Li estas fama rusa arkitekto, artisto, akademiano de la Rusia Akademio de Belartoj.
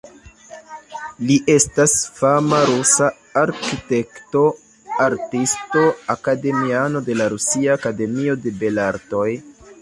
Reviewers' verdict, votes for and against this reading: accepted, 2, 0